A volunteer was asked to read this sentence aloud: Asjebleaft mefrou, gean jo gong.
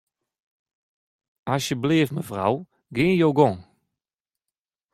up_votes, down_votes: 2, 1